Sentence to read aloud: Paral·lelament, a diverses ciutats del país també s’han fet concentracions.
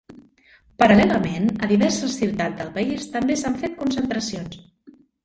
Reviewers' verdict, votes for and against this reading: rejected, 1, 2